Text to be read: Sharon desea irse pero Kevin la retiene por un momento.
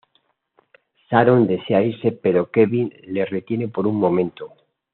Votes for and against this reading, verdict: 2, 0, accepted